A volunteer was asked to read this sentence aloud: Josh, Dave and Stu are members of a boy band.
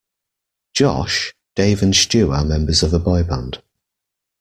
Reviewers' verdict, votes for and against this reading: accepted, 2, 0